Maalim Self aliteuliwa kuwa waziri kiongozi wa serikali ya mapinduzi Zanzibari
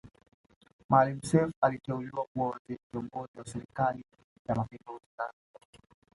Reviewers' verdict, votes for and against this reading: accepted, 2, 0